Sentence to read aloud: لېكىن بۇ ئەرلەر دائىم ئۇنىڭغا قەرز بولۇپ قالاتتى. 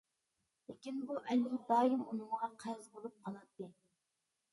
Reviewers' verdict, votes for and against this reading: rejected, 0, 2